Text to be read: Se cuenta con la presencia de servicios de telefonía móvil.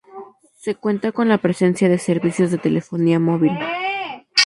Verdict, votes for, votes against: accepted, 2, 0